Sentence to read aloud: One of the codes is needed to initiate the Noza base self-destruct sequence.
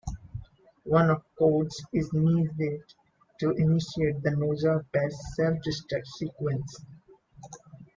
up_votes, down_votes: 1, 2